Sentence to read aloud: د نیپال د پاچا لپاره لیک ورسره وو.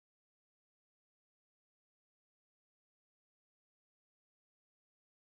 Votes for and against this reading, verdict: 0, 2, rejected